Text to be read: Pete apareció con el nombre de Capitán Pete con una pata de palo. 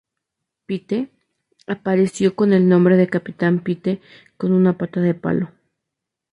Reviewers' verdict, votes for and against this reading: accepted, 2, 0